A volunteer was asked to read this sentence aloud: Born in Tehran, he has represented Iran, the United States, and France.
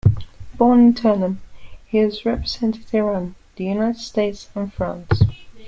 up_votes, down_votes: 2, 0